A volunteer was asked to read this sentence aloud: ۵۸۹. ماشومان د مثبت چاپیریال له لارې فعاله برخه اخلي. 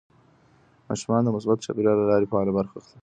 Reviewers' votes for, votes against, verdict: 0, 2, rejected